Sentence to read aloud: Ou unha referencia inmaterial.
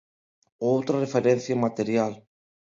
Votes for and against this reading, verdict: 1, 2, rejected